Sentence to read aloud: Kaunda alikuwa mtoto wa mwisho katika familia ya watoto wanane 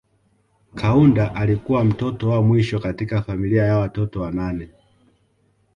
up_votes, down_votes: 2, 0